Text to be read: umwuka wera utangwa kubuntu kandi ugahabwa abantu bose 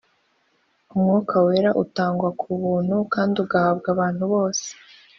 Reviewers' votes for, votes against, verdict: 2, 0, accepted